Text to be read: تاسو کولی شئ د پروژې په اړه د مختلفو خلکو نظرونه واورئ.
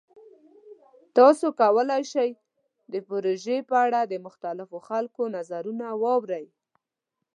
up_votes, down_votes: 2, 0